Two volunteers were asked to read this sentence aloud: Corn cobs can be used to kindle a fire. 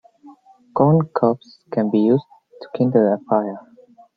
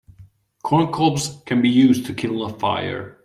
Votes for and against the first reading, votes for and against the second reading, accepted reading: 1, 2, 2, 0, second